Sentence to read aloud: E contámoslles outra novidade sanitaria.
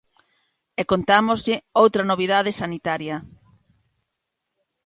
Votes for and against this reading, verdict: 1, 2, rejected